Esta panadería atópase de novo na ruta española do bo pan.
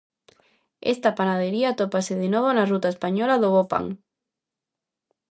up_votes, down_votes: 2, 0